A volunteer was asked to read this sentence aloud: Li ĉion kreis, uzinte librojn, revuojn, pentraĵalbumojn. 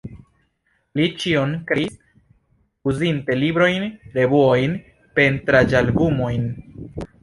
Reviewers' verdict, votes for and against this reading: rejected, 1, 2